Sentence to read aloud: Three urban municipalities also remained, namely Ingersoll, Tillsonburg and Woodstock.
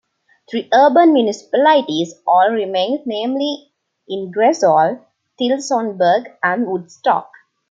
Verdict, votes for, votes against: accepted, 2, 0